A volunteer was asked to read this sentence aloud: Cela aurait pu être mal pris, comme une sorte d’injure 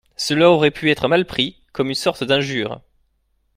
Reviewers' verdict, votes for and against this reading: accepted, 2, 0